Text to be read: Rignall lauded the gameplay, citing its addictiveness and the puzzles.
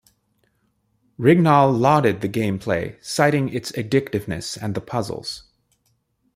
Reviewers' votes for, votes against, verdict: 2, 0, accepted